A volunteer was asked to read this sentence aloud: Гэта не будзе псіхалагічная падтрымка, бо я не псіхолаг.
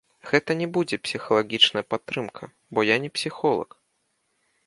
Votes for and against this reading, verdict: 3, 1, accepted